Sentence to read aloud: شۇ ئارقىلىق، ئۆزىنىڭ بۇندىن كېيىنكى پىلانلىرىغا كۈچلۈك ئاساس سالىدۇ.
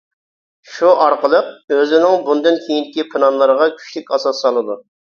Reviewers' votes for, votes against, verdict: 2, 0, accepted